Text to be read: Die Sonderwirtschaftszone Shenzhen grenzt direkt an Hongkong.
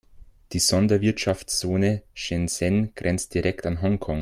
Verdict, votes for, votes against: accepted, 2, 0